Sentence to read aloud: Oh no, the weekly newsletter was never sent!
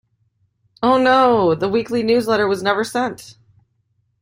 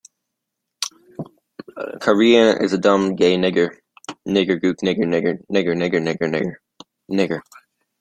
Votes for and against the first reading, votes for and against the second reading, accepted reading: 2, 0, 0, 2, first